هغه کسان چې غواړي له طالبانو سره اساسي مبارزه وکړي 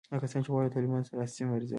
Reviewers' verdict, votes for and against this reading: rejected, 1, 2